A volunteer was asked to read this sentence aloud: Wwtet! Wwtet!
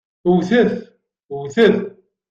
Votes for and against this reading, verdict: 2, 0, accepted